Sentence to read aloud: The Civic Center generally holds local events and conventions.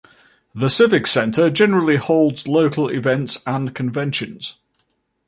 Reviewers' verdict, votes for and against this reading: accepted, 2, 0